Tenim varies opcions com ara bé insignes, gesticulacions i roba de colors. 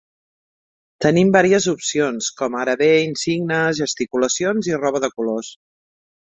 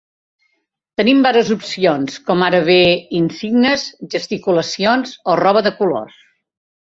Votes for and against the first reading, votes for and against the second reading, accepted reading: 4, 0, 0, 2, first